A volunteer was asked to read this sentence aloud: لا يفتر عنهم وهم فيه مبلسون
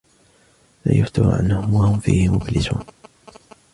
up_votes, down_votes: 2, 0